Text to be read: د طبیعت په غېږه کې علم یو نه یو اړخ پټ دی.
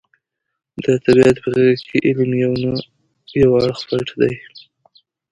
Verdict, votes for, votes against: accepted, 2, 1